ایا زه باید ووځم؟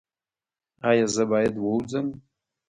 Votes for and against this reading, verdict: 2, 1, accepted